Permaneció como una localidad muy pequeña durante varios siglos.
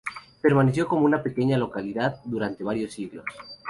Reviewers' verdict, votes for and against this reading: rejected, 0, 2